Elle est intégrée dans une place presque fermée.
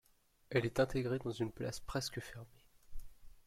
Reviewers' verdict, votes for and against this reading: accepted, 2, 1